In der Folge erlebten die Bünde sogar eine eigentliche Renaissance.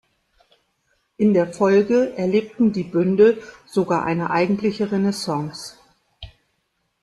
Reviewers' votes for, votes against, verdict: 0, 2, rejected